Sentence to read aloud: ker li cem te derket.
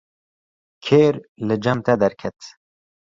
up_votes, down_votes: 0, 2